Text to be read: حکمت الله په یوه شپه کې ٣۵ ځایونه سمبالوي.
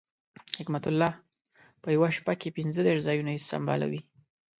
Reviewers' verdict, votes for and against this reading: rejected, 0, 2